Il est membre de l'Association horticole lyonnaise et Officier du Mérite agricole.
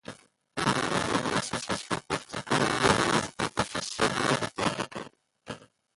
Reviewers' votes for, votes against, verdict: 0, 2, rejected